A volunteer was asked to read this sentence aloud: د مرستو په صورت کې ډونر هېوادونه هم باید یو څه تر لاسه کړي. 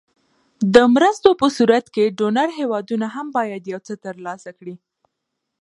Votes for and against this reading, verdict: 2, 0, accepted